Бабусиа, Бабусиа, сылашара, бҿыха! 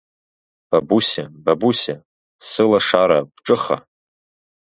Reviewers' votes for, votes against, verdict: 2, 1, accepted